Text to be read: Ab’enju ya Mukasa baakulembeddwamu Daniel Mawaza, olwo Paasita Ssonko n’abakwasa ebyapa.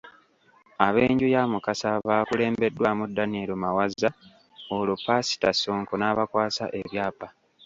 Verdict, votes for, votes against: rejected, 1, 2